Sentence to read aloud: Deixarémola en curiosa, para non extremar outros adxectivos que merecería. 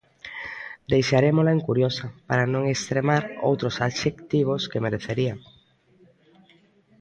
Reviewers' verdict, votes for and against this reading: rejected, 1, 2